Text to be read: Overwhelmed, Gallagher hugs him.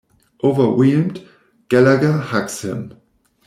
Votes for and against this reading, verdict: 1, 2, rejected